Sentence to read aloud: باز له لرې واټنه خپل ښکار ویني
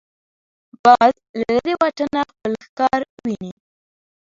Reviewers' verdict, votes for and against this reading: rejected, 0, 2